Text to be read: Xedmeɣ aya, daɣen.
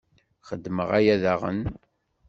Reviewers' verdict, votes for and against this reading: accepted, 2, 0